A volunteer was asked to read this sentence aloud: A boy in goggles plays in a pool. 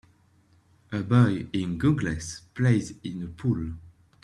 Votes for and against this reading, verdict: 2, 0, accepted